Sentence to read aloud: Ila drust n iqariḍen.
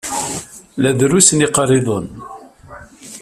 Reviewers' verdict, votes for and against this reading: rejected, 1, 2